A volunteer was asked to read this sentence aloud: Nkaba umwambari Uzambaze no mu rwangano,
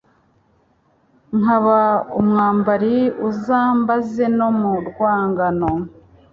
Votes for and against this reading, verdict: 2, 0, accepted